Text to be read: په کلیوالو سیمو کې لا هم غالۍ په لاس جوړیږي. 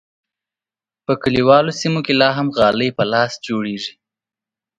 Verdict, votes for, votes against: accepted, 4, 0